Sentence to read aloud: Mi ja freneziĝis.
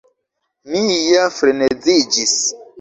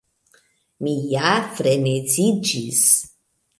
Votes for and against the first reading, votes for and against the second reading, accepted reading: 1, 2, 2, 0, second